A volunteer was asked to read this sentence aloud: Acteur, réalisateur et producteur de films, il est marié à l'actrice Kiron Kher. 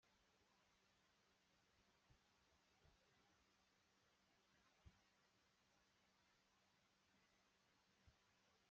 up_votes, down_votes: 0, 2